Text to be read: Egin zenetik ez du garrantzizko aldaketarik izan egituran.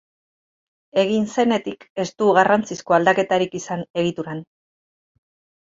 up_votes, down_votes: 12, 0